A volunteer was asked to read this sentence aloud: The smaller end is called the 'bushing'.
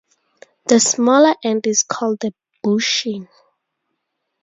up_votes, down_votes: 2, 0